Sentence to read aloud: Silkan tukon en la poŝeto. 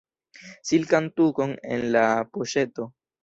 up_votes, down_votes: 0, 2